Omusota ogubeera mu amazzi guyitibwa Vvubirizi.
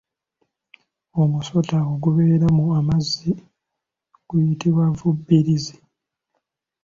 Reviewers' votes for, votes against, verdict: 2, 0, accepted